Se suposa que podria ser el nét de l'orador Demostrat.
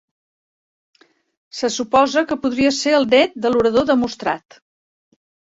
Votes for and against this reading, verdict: 2, 0, accepted